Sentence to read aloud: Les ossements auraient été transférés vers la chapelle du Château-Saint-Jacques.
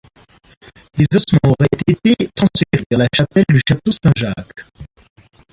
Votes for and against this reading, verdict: 0, 2, rejected